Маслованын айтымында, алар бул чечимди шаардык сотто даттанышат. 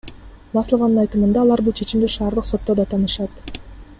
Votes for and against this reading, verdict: 2, 0, accepted